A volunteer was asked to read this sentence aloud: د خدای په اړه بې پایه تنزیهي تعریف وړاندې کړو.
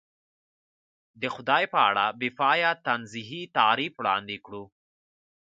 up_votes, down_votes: 1, 2